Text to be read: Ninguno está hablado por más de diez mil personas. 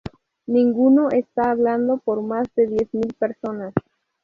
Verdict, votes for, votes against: rejected, 0, 2